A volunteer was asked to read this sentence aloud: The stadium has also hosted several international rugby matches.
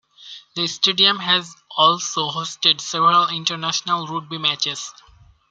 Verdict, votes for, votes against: accepted, 2, 0